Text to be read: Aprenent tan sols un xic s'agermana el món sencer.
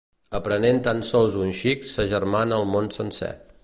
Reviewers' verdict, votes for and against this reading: accepted, 2, 0